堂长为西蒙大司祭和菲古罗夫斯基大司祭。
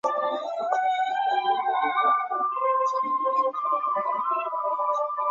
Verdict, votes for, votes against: rejected, 1, 3